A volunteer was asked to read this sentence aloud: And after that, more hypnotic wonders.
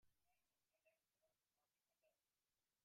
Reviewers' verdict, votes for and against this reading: rejected, 0, 2